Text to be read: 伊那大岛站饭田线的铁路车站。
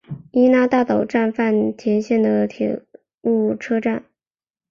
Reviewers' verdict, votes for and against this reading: accepted, 2, 0